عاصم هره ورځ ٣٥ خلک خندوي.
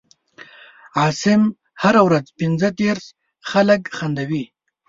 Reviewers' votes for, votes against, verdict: 0, 2, rejected